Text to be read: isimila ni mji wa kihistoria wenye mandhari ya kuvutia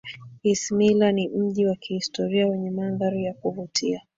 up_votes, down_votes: 2, 0